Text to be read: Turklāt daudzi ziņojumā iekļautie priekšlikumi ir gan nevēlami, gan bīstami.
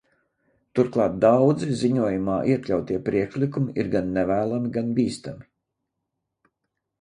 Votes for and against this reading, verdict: 2, 0, accepted